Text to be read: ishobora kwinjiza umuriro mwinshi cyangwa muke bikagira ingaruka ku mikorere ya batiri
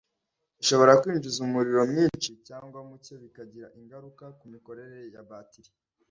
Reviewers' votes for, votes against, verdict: 2, 0, accepted